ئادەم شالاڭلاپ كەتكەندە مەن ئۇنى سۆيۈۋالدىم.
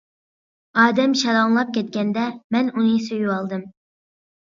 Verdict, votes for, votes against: accepted, 2, 0